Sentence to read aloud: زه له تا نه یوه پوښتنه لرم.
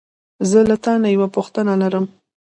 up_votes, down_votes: 1, 2